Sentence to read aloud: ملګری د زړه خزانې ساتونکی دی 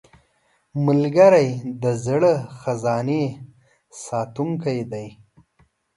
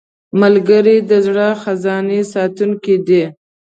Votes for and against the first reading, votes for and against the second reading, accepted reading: 2, 0, 0, 2, first